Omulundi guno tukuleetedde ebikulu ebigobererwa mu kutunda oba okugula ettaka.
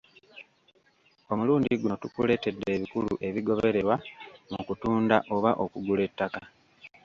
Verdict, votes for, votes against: rejected, 0, 2